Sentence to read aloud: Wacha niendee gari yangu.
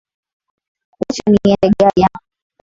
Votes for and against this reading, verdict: 1, 2, rejected